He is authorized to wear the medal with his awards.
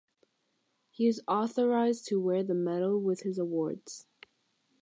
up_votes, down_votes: 6, 0